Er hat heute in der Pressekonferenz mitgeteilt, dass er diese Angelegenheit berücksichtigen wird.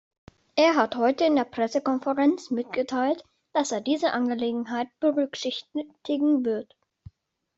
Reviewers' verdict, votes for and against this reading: rejected, 1, 2